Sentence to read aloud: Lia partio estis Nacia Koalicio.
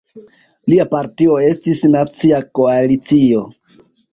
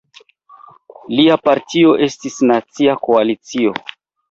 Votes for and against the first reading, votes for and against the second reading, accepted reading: 2, 0, 0, 2, first